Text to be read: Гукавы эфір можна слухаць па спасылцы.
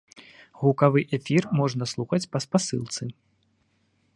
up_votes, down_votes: 2, 0